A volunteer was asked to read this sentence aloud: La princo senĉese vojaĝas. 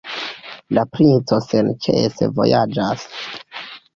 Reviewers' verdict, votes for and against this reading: rejected, 1, 2